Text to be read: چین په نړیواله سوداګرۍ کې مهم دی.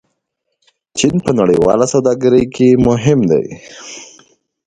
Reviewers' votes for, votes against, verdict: 0, 2, rejected